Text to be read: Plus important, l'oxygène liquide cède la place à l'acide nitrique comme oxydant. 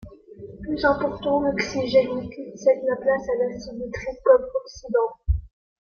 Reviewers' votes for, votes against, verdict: 2, 0, accepted